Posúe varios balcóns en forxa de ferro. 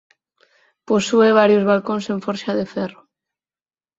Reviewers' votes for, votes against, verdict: 6, 0, accepted